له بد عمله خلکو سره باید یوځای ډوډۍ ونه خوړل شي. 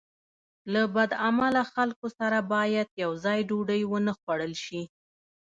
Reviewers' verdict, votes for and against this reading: accepted, 2, 0